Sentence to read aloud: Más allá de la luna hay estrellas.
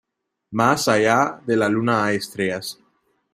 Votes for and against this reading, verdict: 2, 1, accepted